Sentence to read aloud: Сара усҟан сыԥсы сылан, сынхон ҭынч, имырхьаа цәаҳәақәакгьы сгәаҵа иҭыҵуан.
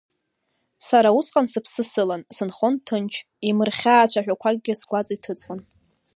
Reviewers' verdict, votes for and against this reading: accepted, 2, 1